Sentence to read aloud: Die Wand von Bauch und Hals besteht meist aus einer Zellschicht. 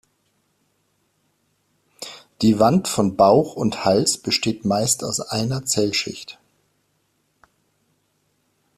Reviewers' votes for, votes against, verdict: 2, 0, accepted